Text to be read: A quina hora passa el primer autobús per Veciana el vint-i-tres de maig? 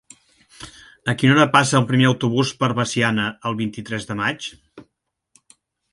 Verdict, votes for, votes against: accepted, 3, 0